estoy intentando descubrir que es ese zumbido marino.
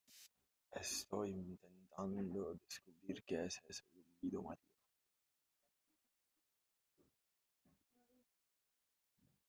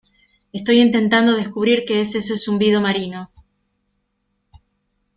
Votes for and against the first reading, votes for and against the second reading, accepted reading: 0, 2, 2, 0, second